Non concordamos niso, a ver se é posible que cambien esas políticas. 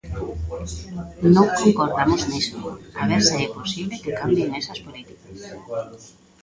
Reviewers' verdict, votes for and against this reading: rejected, 0, 2